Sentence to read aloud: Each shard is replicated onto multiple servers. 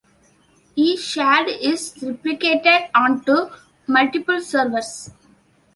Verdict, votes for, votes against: accepted, 2, 0